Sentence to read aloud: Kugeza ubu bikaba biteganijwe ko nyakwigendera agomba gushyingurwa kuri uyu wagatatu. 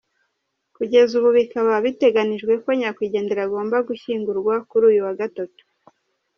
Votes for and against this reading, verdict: 3, 0, accepted